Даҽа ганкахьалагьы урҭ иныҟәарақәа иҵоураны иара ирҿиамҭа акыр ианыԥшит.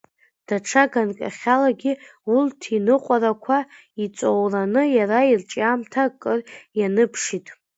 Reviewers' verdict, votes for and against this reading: rejected, 1, 2